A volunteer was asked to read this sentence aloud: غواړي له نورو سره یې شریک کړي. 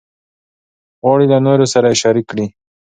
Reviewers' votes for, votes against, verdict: 2, 0, accepted